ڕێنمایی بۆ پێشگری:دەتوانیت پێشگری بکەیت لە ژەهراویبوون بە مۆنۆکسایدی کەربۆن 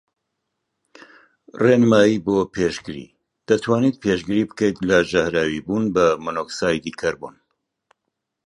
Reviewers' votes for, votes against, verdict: 2, 0, accepted